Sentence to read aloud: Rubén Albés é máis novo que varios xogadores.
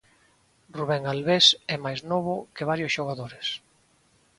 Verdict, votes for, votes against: accepted, 2, 0